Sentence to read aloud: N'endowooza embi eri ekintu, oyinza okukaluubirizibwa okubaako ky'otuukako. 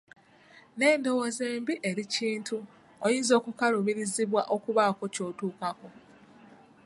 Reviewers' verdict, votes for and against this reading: rejected, 0, 2